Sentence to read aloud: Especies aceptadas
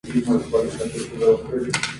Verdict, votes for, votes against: rejected, 0, 2